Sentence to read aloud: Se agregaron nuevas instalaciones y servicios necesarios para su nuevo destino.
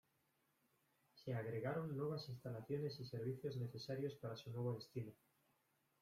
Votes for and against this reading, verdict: 1, 2, rejected